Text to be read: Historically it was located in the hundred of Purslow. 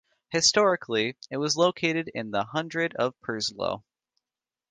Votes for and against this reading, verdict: 1, 2, rejected